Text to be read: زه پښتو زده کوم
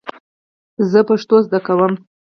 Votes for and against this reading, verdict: 2, 4, rejected